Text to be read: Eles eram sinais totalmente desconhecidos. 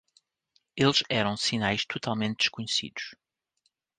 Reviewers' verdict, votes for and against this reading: rejected, 0, 2